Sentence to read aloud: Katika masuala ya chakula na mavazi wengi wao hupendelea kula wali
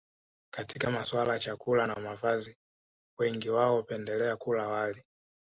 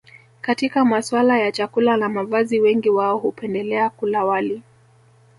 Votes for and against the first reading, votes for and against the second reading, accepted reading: 2, 0, 1, 2, first